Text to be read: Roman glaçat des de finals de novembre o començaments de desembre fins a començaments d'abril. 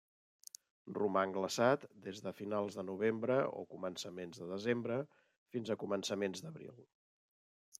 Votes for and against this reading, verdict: 1, 2, rejected